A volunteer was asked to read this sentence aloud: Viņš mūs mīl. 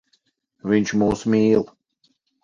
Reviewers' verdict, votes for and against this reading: accepted, 4, 0